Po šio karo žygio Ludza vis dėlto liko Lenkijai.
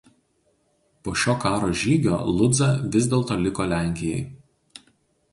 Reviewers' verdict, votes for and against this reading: accepted, 2, 0